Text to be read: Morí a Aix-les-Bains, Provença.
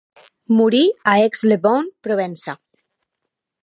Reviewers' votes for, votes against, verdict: 0, 2, rejected